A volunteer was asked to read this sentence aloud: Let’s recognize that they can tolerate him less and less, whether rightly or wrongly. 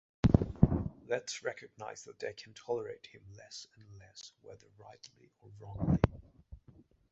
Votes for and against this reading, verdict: 0, 2, rejected